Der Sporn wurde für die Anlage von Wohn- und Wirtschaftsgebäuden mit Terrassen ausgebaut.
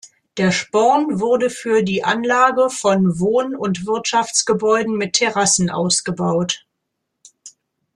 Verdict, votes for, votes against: accepted, 2, 0